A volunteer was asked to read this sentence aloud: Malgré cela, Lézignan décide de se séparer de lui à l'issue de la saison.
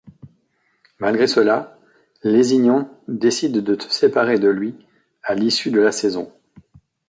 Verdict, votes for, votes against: rejected, 1, 2